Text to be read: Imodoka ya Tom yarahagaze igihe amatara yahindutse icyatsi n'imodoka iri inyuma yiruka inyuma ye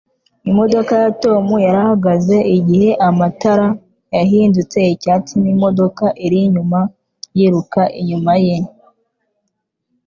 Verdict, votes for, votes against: accepted, 2, 0